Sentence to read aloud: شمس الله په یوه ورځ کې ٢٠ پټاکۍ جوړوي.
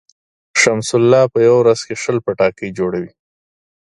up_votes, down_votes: 0, 2